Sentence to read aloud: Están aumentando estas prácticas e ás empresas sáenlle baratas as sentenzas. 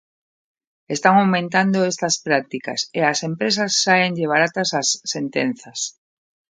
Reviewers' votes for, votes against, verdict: 2, 0, accepted